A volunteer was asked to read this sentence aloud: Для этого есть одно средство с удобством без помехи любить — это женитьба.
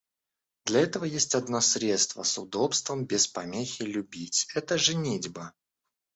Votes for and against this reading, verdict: 2, 0, accepted